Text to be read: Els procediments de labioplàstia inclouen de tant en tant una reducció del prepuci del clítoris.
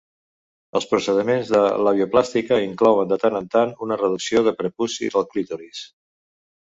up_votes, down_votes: 1, 2